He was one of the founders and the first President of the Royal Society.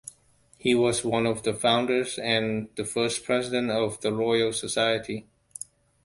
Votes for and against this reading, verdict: 2, 0, accepted